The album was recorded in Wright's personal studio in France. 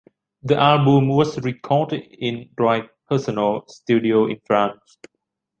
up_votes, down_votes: 1, 2